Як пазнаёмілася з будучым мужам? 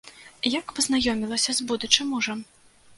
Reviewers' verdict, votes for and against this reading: accepted, 2, 0